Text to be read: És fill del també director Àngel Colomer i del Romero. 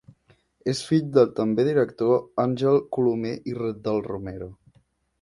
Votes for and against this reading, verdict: 2, 1, accepted